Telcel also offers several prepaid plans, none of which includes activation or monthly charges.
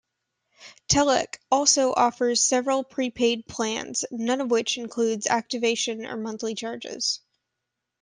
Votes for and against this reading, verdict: 1, 2, rejected